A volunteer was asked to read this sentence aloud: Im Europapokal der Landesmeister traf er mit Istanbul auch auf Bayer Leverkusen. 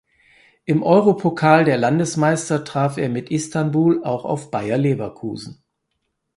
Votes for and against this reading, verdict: 0, 4, rejected